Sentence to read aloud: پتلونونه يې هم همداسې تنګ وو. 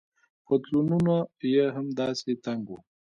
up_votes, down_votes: 1, 2